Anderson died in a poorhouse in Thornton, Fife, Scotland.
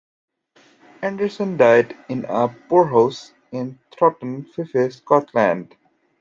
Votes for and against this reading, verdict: 1, 2, rejected